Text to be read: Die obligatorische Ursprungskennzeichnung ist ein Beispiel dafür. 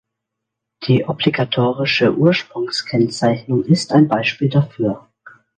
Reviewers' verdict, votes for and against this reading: accepted, 2, 0